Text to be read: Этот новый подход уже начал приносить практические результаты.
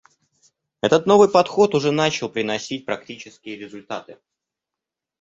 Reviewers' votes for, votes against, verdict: 2, 0, accepted